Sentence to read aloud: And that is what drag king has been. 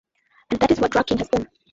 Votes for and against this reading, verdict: 0, 2, rejected